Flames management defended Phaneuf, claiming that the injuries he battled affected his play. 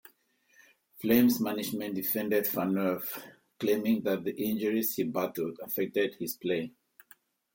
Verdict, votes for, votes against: accepted, 2, 0